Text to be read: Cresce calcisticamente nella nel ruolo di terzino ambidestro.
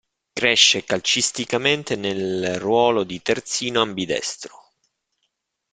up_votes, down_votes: 1, 2